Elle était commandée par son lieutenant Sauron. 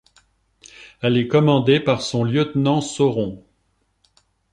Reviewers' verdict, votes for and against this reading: rejected, 1, 3